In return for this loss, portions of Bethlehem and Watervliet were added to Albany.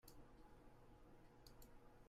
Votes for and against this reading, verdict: 0, 2, rejected